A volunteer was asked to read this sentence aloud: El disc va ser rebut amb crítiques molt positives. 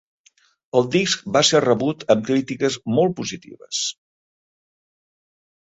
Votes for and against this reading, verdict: 3, 0, accepted